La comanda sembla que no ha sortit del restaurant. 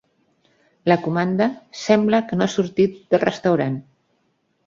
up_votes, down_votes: 4, 0